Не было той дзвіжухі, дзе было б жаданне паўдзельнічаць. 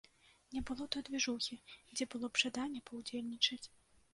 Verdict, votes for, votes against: accepted, 2, 0